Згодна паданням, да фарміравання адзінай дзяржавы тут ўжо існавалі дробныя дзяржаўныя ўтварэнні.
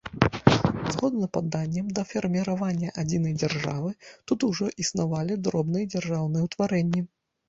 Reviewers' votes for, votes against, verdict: 1, 2, rejected